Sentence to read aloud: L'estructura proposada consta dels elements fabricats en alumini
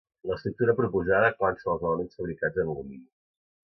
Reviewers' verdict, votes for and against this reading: rejected, 1, 2